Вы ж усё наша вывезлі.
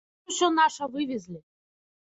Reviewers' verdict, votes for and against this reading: rejected, 1, 2